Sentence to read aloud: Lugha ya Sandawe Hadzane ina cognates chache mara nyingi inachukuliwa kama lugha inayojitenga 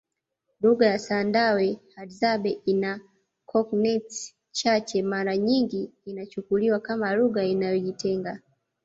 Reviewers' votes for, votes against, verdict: 2, 0, accepted